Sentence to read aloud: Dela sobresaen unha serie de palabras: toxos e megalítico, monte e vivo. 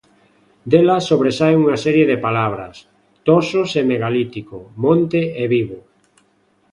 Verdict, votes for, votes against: accepted, 2, 0